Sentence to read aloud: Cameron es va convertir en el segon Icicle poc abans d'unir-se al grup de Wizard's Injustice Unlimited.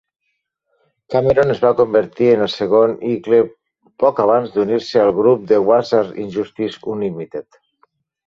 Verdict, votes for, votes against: rejected, 0, 2